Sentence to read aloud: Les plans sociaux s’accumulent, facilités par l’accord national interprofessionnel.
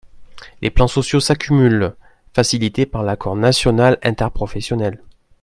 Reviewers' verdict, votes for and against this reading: accepted, 2, 0